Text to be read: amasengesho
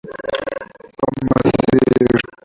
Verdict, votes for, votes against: rejected, 0, 2